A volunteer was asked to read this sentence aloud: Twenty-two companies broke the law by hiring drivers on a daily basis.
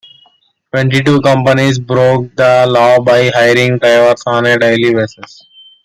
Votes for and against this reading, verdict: 2, 1, accepted